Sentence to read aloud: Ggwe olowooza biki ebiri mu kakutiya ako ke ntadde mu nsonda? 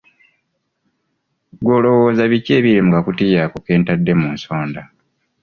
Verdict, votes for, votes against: accepted, 2, 0